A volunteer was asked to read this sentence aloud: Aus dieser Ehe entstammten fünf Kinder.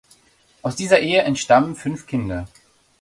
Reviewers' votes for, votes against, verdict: 1, 2, rejected